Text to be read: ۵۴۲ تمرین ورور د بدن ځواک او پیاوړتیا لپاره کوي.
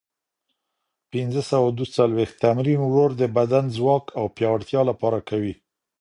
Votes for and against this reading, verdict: 0, 2, rejected